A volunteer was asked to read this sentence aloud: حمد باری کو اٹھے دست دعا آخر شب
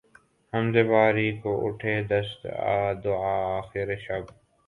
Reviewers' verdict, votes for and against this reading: rejected, 5, 6